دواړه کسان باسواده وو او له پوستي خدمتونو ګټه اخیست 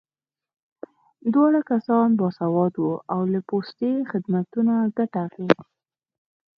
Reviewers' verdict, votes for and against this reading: accepted, 6, 0